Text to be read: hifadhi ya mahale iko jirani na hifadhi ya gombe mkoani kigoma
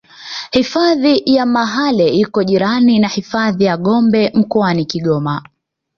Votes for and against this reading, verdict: 2, 0, accepted